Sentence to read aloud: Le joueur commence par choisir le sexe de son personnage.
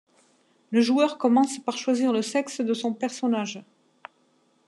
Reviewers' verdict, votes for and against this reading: accepted, 2, 0